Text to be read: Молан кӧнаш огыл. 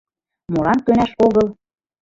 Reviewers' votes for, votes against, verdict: 1, 2, rejected